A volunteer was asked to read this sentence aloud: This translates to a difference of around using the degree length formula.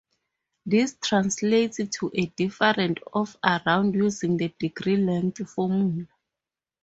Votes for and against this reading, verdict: 2, 0, accepted